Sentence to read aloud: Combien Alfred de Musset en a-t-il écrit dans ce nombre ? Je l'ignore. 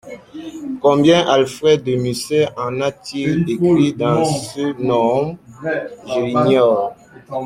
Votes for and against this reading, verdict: 0, 2, rejected